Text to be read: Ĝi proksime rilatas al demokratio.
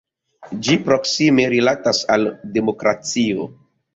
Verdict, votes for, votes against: rejected, 0, 2